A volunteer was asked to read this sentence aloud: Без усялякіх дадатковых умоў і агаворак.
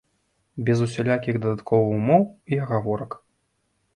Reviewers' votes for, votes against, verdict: 2, 0, accepted